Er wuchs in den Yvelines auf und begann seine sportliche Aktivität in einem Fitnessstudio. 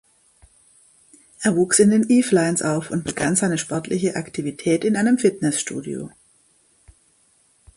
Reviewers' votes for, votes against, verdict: 2, 0, accepted